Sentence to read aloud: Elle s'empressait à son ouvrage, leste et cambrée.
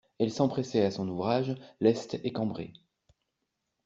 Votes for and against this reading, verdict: 3, 0, accepted